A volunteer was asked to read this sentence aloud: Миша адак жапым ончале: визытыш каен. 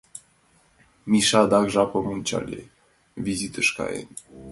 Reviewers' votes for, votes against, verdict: 2, 0, accepted